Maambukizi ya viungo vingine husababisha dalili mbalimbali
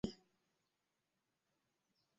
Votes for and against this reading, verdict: 0, 2, rejected